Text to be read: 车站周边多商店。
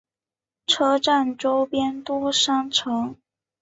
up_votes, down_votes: 1, 2